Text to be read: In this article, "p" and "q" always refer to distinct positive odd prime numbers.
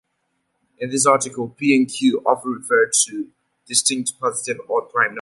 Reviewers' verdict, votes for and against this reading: rejected, 0, 2